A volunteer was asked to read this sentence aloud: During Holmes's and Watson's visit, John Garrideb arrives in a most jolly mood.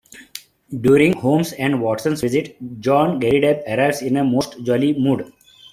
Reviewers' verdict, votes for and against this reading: accepted, 2, 1